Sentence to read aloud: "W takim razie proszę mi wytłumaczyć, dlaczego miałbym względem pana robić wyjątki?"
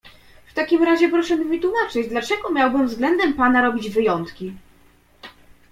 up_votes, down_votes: 2, 0